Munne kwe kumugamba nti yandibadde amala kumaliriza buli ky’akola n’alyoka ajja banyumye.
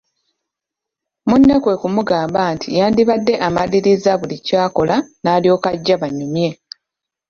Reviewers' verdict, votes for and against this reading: rejected, 1, 3